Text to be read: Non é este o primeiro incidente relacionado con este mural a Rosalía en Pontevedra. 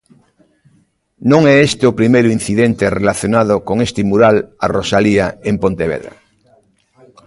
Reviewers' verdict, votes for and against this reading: accepted, 2, 0